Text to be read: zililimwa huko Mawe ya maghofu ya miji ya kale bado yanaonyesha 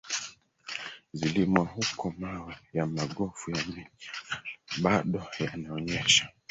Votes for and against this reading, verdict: 0, 2, rejected